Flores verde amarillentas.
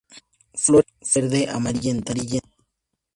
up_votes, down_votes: 0, 2